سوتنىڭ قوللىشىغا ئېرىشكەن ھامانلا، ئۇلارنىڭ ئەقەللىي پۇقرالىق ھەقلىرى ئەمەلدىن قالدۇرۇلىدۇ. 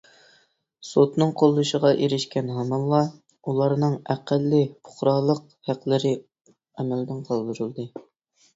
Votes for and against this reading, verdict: 2, 0, accepted